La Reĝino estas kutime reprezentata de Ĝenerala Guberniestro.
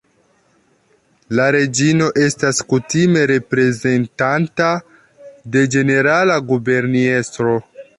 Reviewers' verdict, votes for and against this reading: rejected, 0, 2